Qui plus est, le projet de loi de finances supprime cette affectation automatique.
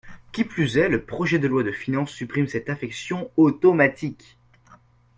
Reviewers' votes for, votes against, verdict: 1, 2, rejected